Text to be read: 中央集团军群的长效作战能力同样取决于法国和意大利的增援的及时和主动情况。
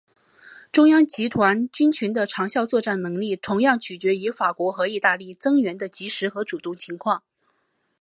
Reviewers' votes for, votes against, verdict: 3, 1, accepted